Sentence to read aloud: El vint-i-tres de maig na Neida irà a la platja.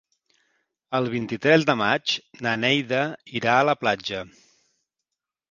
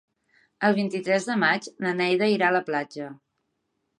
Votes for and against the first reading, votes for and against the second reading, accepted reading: 1, 2, 3, 0, second